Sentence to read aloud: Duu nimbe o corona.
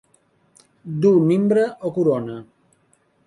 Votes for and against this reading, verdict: 1, 2, rejected